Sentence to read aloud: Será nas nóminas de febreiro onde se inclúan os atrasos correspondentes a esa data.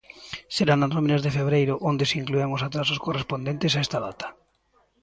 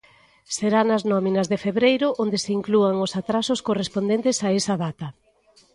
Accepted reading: second